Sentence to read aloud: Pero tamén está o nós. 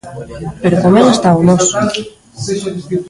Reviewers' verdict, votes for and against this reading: rejected, 0, 2